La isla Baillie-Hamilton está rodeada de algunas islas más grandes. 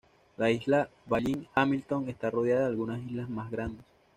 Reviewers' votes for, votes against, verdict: 2, 0, accepted